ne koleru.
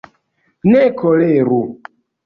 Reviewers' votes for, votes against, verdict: 3, 0, accepted